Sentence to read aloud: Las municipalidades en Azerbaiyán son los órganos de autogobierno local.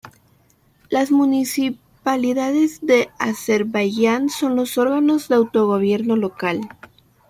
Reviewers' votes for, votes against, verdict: 0, 2, rejected